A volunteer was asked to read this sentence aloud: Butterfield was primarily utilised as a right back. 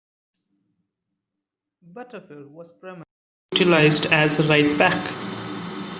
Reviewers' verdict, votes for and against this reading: rejected, 1, 2